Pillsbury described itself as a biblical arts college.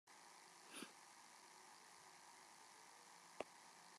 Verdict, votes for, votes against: rejected, 0, 2